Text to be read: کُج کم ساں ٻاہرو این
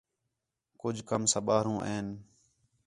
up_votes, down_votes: 4, 0